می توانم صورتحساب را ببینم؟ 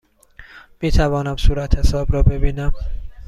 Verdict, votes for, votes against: accepted, 2, 0